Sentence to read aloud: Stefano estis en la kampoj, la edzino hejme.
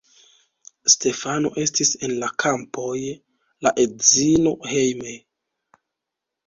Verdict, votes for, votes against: rejected, 1, 2